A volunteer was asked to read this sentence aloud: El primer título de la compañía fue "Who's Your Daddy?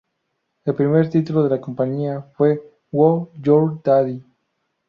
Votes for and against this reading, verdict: 0, 2, rejected